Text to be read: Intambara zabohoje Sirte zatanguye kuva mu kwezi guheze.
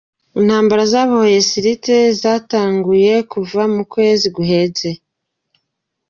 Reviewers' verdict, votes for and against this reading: rejected, 0, 2